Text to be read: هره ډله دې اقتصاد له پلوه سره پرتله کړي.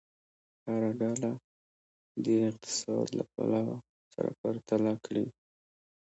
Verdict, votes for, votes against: accepted, 2, 0